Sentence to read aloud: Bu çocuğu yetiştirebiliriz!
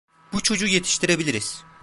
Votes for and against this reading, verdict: 2, 0, accepted